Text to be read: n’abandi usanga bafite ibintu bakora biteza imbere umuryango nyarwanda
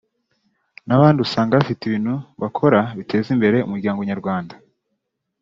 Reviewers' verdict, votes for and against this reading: rejected, 1, 2